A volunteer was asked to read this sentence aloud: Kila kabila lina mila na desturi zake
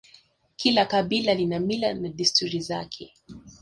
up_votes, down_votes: 1, 2